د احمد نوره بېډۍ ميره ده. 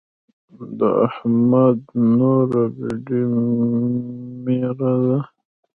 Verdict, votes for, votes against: accepted, 2, 1